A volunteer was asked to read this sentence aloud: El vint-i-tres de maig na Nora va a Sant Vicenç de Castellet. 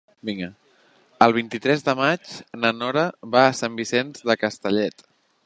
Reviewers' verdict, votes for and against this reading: rejected, 0, 2